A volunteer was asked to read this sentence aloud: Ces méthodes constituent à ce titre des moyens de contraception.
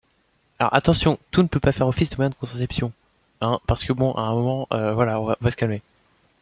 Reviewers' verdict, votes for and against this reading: rejected, 0, 2